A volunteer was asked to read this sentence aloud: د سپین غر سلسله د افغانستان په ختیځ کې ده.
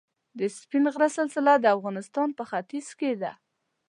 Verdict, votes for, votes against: accepted, 2, 1